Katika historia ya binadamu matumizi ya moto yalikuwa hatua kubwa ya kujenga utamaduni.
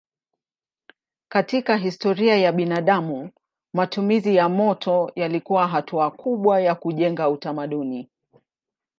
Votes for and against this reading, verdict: 2, 0, accepted